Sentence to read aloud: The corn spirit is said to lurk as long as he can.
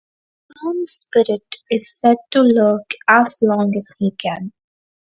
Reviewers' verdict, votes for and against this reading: rejected, 2, 4